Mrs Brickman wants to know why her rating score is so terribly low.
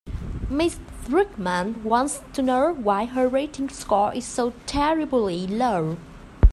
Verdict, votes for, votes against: rejected, 0, 2